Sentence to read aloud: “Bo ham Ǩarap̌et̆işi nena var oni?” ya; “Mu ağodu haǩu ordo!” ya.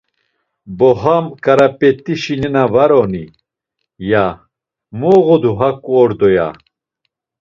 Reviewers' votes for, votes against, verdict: 2, 1, accepted